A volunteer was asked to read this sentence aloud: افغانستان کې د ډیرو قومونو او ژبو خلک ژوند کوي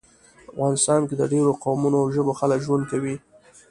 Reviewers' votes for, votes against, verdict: 2, 0, accepted